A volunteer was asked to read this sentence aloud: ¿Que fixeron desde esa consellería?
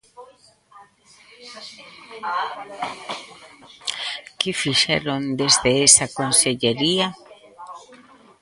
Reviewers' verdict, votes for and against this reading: rejected, 0, 3